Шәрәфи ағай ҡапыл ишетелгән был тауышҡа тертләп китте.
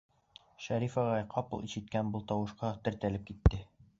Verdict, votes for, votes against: rejected, 1, 2